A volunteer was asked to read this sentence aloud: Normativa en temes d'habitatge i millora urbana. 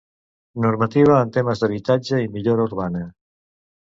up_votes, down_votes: 2, 0